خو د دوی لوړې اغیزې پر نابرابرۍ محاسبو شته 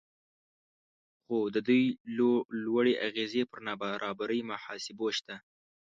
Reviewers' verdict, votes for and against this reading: rejected, 1, 2